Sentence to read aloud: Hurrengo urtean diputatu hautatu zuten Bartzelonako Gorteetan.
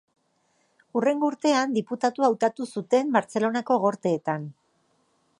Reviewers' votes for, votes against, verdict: 3, 0, accepted